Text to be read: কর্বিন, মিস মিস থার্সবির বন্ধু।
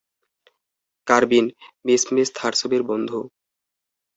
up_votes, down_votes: 2, 2